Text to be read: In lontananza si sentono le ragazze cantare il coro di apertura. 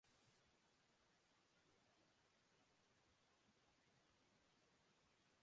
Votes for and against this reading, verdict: 0, 2, rejected